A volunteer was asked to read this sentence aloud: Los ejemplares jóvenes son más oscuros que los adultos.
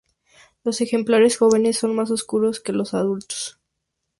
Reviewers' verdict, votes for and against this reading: accepted, 2, 0